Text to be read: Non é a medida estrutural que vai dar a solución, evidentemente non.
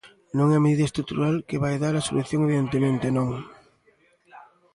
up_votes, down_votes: 1, 2